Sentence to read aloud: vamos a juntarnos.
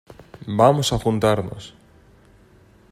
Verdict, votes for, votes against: accepted, 4, 0